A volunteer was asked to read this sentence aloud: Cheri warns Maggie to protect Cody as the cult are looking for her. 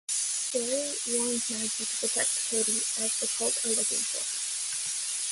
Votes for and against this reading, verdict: 1, 2, rejected